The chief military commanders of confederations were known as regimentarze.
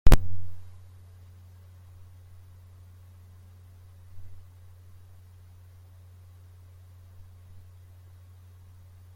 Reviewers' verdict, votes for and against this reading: rejected, 0, 2